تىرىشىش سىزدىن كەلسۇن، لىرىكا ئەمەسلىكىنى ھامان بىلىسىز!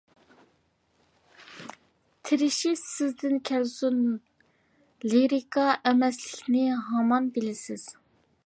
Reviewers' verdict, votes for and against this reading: accepted, 2, 0